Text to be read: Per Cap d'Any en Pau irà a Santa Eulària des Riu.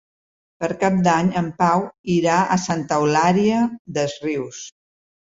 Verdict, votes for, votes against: rejected, 1, 2